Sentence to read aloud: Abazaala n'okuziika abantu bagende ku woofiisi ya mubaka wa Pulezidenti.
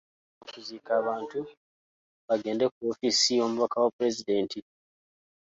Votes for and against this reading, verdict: 0, 2, rejected